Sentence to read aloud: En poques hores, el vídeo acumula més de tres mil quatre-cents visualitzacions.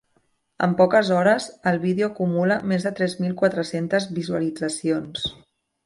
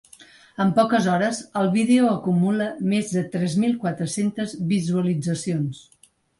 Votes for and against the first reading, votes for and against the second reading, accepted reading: 3, 2, 1, 2, first